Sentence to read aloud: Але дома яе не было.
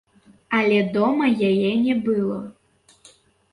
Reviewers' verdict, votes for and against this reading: rejected, 1, 2